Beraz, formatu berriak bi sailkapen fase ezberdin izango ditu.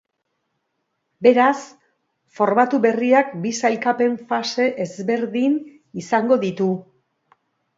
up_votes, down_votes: 6, 0